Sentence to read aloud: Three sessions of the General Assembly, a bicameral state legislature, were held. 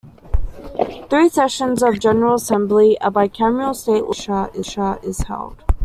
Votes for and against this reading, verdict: 1, 2, rejected